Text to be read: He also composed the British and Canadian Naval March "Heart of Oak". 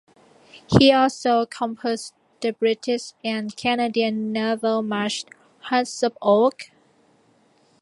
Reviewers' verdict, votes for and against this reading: rejected, 0, 2